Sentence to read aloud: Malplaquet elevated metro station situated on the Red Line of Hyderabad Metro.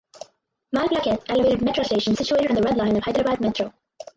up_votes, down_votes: 0, 4